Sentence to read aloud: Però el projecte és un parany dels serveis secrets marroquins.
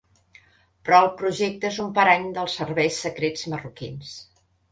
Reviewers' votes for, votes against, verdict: 1, 2, rejected